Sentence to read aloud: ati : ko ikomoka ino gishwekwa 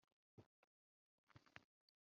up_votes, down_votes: 2, 1